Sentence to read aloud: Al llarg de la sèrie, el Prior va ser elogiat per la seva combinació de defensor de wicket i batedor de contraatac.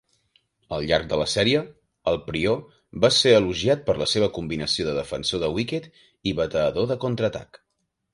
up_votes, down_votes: 3, 0